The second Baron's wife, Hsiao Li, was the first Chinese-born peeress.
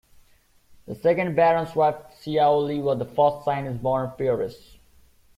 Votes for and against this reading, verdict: 2, 1, accepted